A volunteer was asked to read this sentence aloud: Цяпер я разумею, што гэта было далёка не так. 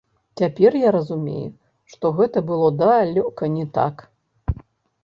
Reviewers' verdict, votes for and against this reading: rejected, 2, 3